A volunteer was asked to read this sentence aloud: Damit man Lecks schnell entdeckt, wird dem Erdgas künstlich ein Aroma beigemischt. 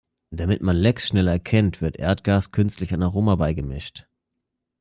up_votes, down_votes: 0, 2